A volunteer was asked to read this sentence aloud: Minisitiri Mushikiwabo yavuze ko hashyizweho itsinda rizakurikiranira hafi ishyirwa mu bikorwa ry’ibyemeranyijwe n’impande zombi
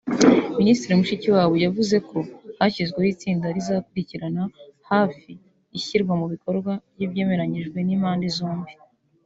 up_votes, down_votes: 2, 0